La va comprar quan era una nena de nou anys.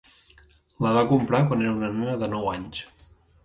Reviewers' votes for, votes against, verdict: 0, 2, rejected